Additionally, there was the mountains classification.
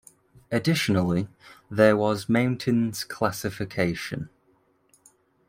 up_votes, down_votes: 1, 2